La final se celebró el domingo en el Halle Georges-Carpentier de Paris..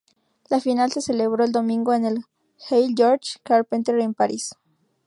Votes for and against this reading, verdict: 0, 2, rejected